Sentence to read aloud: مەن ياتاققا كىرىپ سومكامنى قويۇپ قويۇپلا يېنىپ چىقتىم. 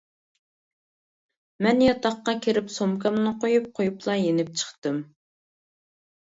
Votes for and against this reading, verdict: 2, 0, accepted